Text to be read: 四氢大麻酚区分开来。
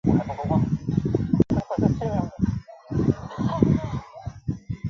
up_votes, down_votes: 0, 2